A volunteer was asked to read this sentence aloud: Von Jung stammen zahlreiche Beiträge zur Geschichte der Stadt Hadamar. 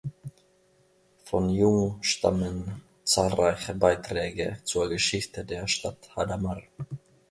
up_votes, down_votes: 3, 0